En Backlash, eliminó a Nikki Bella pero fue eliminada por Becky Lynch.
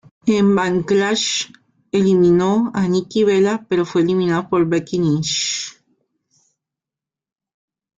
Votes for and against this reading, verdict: 2, 1, accepted